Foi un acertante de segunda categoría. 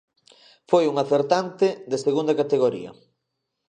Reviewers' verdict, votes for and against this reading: accepted, 2, 0